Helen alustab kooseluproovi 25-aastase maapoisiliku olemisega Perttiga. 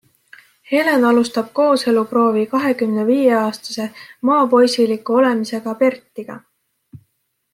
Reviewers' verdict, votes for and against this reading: rejected, 0, 2